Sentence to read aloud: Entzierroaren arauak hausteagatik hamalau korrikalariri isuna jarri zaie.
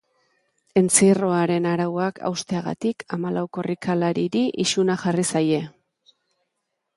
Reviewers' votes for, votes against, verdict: 2, 0, accepted